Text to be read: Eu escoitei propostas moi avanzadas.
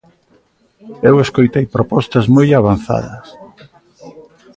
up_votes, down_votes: 2, 0